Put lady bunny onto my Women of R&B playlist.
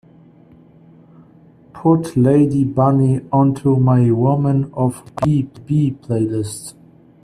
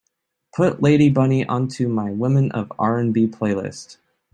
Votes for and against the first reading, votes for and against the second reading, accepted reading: 2, 10, 2, 0, second